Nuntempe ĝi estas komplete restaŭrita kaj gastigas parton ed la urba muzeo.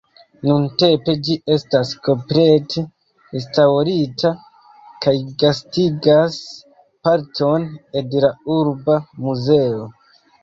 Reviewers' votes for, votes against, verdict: 2, 1, accepted